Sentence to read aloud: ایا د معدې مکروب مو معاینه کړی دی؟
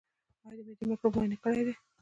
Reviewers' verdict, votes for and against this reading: rejected, 0, 2